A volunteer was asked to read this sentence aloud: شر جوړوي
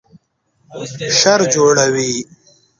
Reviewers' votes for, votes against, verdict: 0, 2, rejected